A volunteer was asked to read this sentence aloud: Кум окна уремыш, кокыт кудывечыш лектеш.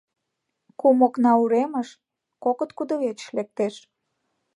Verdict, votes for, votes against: accepted, 2, 0